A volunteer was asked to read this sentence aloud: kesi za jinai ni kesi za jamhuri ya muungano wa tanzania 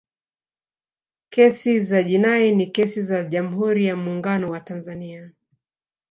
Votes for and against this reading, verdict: 2, 0, accepted